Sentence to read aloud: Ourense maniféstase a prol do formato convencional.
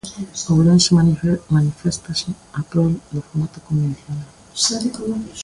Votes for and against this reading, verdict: 0, 2, rejected